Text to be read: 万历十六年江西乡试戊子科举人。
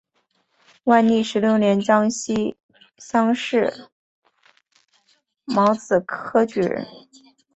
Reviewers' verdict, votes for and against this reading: accepted, 3, 1